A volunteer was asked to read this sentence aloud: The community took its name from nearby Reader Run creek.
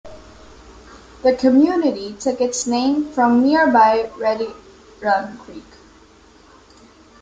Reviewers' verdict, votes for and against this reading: rejected, 0, 2